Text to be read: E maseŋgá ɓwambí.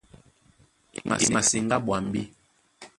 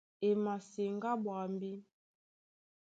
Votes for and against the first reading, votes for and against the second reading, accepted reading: 0, 2, 2, 0, second